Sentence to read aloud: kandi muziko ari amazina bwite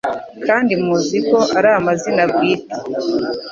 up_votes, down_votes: 4, 0